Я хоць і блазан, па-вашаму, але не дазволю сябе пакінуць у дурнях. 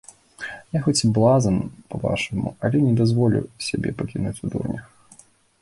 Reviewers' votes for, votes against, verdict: 2, 0, accepted